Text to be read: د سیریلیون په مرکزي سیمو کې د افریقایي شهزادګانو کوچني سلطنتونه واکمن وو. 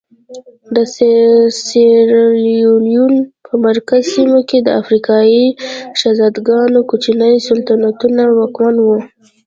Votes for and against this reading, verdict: 0, 2, rejected